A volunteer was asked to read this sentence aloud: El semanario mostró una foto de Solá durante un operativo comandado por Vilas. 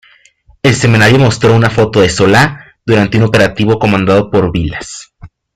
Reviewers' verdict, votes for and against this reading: rejected, 1, 2